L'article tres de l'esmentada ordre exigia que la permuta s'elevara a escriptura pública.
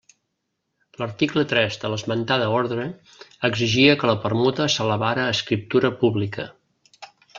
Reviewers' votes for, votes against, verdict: 2, 0, accepted